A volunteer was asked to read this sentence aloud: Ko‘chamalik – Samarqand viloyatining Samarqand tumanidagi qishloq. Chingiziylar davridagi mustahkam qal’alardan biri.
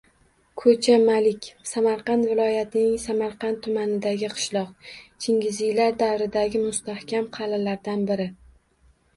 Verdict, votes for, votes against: rejected, 1, 2